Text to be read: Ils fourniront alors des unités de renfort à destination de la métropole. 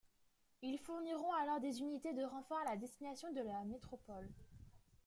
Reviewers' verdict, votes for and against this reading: rejected, 1, 2